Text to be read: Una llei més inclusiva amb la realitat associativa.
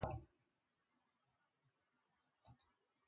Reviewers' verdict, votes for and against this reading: rejected, 0, 3